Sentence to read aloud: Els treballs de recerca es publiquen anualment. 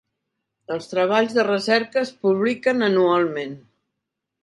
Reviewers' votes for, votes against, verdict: 3, 0, accepted